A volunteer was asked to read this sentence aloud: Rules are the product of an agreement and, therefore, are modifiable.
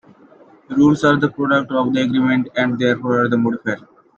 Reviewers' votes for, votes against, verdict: 0, 2, rejected